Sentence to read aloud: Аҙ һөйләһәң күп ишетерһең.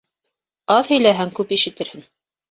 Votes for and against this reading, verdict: 2, 0, accepted